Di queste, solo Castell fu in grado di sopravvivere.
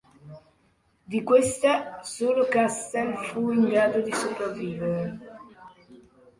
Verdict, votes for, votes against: rejected, 0, 2